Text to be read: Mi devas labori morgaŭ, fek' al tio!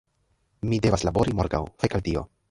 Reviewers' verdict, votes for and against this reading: rejected, 1, 3